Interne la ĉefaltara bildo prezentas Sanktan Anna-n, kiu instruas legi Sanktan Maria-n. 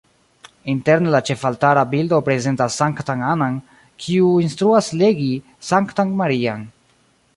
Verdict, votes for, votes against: rejected, 1, 2